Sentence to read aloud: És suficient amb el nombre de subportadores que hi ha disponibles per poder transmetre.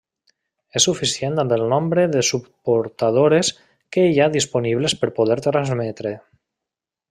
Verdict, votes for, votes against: accepted, 2, 0